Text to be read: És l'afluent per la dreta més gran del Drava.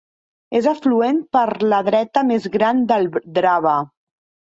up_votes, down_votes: 1, 2